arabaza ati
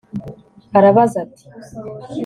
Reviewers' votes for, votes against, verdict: 3, 0, accepted